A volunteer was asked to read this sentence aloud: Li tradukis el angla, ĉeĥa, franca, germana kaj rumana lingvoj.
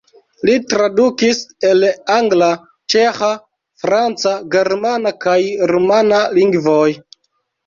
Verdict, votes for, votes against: rejected, 0, 2